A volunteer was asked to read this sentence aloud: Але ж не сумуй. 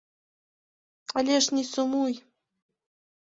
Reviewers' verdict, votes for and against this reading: accepted, 2, 0